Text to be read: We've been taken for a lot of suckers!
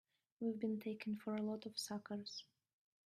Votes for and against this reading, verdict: 2, 0, accepted